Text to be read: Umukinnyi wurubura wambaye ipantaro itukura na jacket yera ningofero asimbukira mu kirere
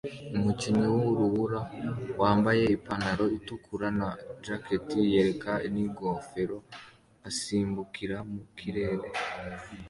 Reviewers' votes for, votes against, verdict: 2, 1, accepted